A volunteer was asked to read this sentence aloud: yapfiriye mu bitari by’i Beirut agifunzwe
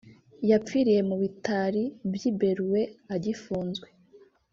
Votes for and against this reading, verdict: 1, 2, rejected